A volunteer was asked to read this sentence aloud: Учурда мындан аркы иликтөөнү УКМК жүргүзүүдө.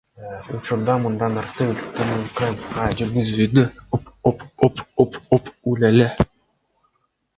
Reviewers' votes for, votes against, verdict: 0, 2, rejected